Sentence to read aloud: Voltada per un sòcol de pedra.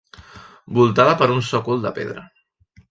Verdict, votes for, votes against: accepted, 2, 0